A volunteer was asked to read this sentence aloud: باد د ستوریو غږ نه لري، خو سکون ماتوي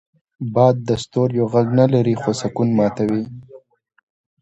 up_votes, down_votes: 2, 0